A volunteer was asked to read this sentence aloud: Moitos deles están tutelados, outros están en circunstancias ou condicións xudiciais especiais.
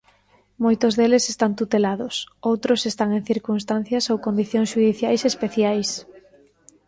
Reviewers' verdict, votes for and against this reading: accepted, 2, 0